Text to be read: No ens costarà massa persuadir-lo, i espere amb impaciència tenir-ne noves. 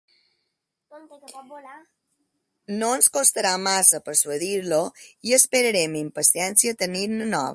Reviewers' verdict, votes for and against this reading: rejected, 1, 2